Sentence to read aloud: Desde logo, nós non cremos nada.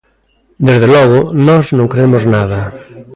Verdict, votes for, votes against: accepted, 2, 0